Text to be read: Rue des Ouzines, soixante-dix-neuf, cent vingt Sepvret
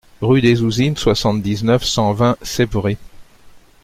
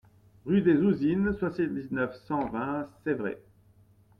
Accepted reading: first